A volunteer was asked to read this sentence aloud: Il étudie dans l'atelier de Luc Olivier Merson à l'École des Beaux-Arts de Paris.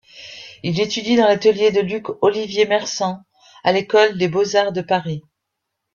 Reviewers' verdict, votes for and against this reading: rejected, 1, 2